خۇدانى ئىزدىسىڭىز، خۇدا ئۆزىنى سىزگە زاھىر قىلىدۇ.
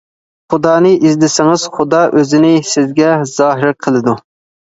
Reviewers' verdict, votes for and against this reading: accepted, 2, 0